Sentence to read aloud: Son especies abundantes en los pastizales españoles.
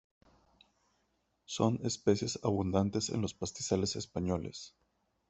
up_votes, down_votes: 2, 0